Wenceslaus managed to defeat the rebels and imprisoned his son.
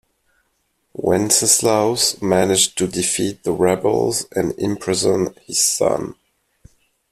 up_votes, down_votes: 2, 1